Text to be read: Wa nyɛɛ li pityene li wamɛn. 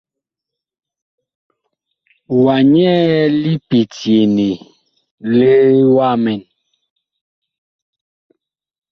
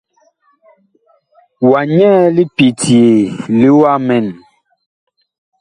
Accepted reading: first